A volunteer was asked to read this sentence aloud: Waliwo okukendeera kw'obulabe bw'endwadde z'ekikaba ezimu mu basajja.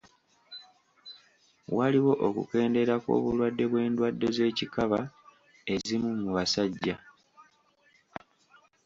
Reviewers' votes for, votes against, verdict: 1, 2, rejected